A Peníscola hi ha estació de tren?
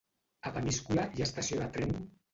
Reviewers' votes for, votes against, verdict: 0, 2, rejected